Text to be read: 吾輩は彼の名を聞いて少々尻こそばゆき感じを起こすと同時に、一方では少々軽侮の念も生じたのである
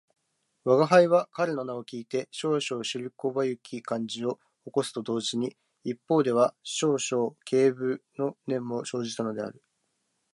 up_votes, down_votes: 0, 3